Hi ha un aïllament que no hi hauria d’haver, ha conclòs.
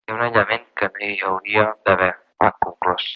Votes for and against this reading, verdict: 1, 2, rejected